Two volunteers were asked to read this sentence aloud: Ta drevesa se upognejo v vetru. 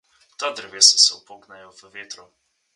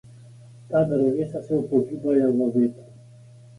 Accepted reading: first